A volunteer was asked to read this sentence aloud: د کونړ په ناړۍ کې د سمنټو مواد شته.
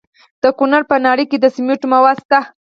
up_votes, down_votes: 0, 6